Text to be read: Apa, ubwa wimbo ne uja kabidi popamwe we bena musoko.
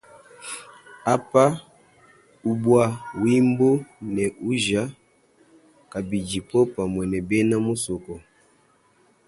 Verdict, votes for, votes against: accepted, 2, 0